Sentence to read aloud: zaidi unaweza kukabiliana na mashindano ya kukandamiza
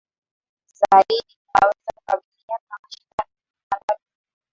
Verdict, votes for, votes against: rejected, 1, 2